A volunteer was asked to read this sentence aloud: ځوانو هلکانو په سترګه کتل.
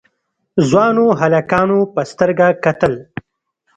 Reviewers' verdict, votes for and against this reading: accepted, 2, 0